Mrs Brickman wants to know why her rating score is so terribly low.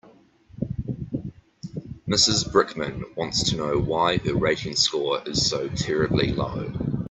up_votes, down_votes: 2, 0